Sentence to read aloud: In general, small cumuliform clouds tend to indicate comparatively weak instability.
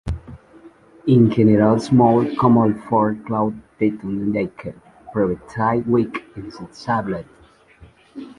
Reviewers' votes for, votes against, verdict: 0, 2, rejected